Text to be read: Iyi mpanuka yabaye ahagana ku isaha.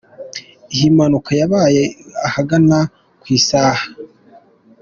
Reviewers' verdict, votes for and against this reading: accepted, 2, 0